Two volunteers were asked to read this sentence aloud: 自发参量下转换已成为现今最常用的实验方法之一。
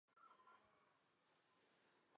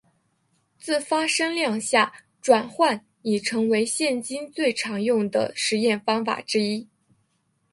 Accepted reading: first